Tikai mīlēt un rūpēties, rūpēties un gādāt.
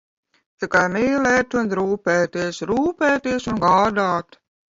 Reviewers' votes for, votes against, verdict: 2, 0, accepted